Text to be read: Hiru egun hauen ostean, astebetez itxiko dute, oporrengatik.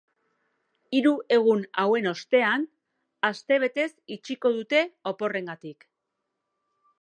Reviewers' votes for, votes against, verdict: 2, 0, accepted